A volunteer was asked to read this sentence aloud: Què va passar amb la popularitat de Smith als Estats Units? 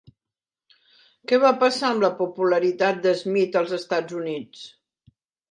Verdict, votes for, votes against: accepted, 3, 0